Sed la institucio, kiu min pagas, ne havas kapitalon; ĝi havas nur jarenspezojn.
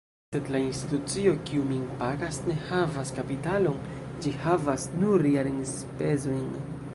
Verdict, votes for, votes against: accepted, 2, 0